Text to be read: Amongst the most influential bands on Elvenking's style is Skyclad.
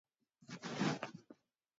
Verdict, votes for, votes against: rejected, 0, 2